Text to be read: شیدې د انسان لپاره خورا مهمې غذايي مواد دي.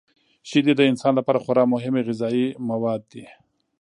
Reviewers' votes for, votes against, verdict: 0, 2, rejected